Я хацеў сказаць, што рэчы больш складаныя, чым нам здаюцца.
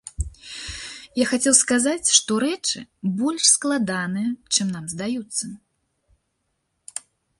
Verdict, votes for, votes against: accepted, 2, 0